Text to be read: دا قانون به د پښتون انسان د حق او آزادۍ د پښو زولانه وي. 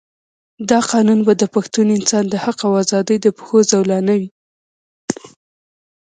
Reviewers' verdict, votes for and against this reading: rejected, 1, 2